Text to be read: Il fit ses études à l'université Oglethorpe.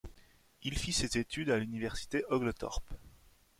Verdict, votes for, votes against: rejected, 1, 2